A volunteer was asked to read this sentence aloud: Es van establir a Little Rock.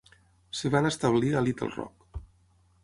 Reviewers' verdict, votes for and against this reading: rejected, 3, 6